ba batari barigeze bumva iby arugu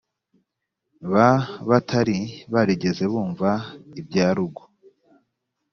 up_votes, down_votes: 2, 0